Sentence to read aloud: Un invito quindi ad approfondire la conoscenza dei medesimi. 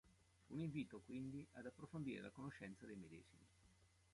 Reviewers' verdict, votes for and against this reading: rejected, 1, 2